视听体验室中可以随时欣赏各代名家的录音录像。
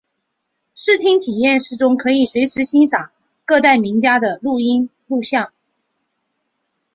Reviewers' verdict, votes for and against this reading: accepted, 3, 0